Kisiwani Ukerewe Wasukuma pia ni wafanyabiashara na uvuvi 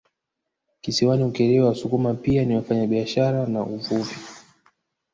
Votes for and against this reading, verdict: 0, 2, rejected